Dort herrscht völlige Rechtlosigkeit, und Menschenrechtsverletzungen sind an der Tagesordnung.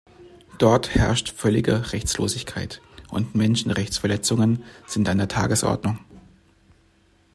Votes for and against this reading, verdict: 1, 2, rejected